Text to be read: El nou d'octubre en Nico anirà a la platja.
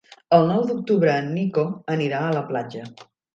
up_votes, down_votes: 3, 0